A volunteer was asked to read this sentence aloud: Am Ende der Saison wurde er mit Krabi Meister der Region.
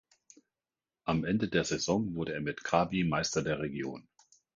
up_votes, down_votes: 2, 0